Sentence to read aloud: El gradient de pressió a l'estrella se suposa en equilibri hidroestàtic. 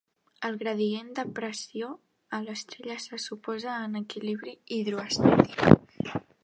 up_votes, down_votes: 1, 2